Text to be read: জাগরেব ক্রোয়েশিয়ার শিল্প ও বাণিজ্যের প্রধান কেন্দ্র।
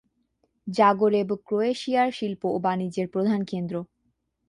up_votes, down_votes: 2, 1